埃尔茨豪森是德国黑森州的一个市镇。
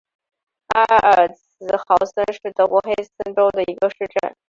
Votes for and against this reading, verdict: 6, 0, accepted